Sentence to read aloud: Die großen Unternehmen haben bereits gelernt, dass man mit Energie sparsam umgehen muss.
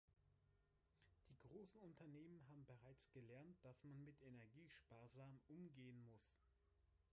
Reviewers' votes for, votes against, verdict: 1, 2, rejected